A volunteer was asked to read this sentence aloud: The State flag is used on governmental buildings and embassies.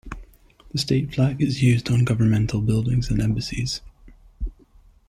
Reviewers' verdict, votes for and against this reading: accepted, 2, 0